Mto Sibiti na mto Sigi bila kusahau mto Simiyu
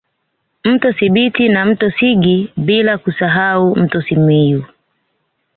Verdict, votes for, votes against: accepted, 2, 0